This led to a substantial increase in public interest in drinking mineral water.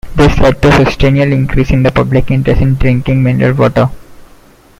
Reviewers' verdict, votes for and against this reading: rejected, 1, 2